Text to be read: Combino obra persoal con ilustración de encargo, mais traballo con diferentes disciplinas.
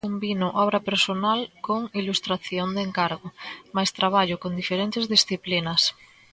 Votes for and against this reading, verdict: 0, 2, rejected